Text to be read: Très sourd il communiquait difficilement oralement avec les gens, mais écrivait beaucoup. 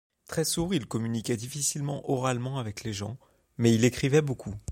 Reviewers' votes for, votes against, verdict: 1, 2, rejected